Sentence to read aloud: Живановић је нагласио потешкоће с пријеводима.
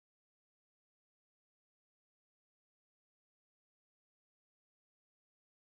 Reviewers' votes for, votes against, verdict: 0, 2, rejected